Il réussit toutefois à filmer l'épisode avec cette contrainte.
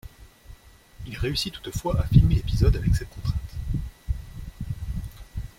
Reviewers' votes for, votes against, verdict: 2, 0, accepted